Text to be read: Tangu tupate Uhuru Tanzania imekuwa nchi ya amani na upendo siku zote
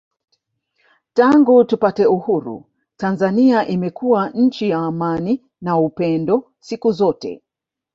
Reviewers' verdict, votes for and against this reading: accepted, 2, 1